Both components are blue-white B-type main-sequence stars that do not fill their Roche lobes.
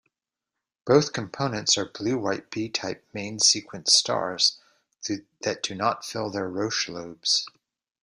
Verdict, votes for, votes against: rejected, 1, 2